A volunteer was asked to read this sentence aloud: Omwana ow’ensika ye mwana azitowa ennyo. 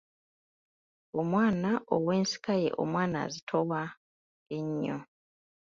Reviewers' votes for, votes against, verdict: 1, 2, rejected